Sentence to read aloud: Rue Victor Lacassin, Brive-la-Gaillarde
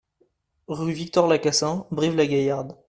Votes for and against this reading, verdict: 2, 0, accepted